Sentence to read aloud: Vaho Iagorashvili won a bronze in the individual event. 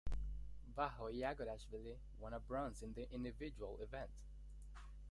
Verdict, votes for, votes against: rejected, 0, 2